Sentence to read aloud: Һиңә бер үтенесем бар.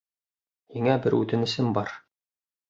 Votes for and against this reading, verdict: 2, 0, accepted